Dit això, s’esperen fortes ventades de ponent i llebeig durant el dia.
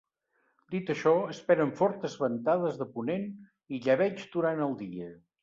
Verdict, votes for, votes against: rejected, 0, 2